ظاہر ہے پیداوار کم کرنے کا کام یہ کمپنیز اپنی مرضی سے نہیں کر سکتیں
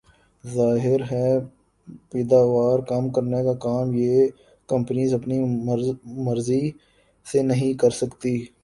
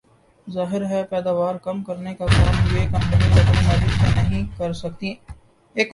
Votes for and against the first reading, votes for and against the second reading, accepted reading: 2, 1, 0, 2, first